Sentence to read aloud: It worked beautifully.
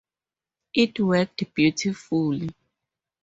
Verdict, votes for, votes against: accepted, 4, 2